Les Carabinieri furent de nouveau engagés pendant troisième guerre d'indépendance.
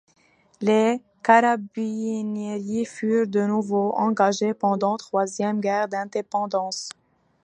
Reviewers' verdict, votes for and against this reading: rejected, 1, 2